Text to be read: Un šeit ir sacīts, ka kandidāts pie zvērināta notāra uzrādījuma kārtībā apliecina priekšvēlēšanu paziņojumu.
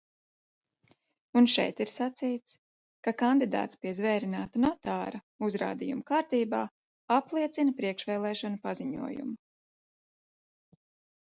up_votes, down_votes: 2, 0